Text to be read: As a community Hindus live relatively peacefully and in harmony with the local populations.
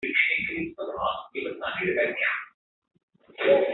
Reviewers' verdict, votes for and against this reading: rejected, 0, 2